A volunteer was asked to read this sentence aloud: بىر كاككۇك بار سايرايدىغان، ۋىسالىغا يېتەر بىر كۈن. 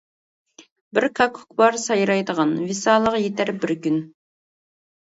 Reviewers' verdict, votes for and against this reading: accepted, 2, 0